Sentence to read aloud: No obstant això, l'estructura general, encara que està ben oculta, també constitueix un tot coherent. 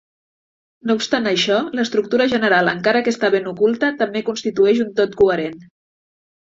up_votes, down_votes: 3, 0